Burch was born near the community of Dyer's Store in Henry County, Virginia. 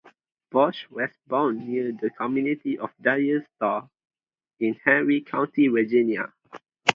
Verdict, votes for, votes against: accepted, 2, 0